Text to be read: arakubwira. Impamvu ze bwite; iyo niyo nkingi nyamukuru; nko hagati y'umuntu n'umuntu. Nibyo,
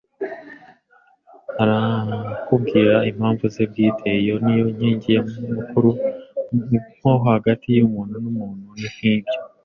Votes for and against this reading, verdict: 2, 0, accepted